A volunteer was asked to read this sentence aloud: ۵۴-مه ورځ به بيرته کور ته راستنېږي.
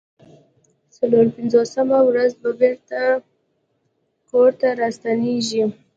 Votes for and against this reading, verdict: 0, 2, rejected